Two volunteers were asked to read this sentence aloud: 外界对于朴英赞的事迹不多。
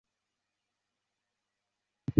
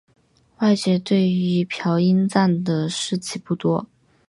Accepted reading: second